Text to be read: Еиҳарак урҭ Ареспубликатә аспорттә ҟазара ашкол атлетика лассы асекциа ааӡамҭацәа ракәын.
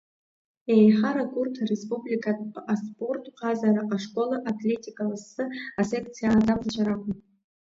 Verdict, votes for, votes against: rejected, 1, 2